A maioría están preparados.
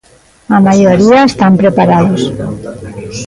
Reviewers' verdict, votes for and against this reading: rejected, 1, 2